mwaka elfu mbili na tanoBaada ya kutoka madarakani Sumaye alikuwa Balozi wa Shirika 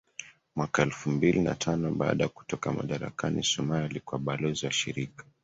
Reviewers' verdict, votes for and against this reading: rejected, 1, 2